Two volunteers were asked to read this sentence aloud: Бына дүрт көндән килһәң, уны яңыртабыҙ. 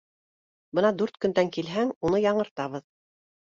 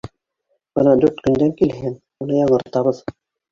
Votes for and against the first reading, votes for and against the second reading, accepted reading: 2, 0, 0, 3, first